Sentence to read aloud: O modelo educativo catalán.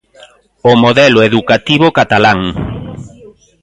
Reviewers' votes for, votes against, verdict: 1, 2, rejected